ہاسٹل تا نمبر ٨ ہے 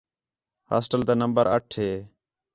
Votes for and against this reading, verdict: 0, 2, rejected